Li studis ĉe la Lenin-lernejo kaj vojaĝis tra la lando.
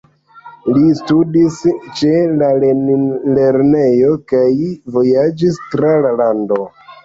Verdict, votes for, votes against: accepted, 2, 1